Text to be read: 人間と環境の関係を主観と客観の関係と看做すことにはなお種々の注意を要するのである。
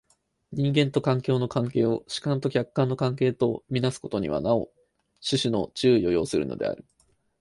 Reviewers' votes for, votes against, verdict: 6, 0, accepted